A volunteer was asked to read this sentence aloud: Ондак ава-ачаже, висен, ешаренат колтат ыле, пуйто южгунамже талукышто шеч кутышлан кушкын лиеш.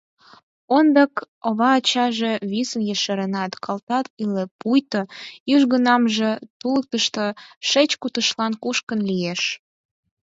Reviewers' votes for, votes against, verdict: 2, 4, rejected